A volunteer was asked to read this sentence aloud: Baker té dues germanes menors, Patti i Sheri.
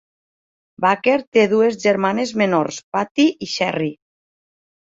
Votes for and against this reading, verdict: 1, 2, rejected